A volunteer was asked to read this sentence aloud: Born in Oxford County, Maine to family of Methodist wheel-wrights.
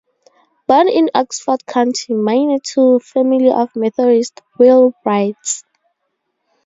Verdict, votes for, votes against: rejected, 0, 2